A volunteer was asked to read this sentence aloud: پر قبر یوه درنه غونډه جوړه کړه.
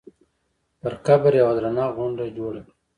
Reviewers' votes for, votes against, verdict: 3, 1, accepted